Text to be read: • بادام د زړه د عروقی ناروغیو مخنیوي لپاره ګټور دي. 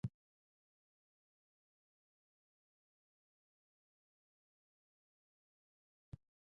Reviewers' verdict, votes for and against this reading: rejected, 0, 2